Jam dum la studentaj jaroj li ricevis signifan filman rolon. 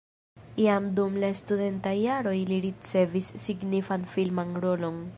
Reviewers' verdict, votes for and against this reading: accepted, 2, 1